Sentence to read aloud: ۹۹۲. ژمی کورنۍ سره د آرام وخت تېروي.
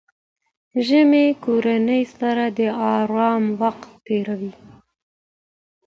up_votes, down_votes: 0, 2